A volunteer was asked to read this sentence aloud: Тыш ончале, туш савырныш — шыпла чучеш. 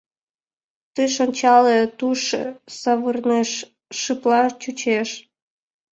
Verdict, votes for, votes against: rejected, 0, 2